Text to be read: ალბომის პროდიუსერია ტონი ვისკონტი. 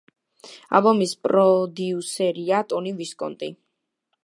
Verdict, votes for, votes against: accepted, 2, 0